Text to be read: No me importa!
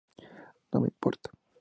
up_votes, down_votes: 2, 0